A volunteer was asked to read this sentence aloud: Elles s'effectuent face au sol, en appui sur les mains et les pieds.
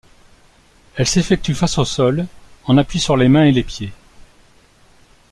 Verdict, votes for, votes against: accepted, 2, 0